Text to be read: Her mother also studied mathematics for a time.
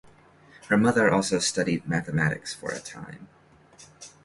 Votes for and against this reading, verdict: 2, 0, accepted